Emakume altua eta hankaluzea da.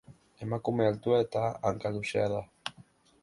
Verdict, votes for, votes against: rejected, 0, 2